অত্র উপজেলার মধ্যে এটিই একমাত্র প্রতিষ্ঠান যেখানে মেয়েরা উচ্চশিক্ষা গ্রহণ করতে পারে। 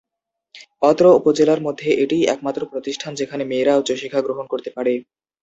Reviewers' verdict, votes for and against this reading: accepted, 7, 0